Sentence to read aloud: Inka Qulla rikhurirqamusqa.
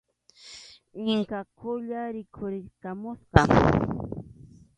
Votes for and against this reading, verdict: 2, 1, accepted